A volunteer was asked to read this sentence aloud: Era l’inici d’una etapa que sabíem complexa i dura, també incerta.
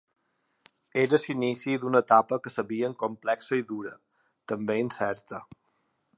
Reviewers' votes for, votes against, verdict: 3, 2, accepted